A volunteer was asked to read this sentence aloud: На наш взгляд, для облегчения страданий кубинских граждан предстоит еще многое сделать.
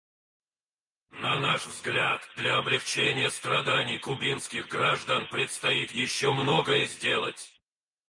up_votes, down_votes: 2, 2